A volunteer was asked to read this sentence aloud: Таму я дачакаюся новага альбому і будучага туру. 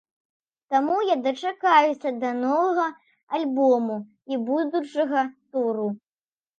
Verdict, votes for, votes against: rejected, 1, 2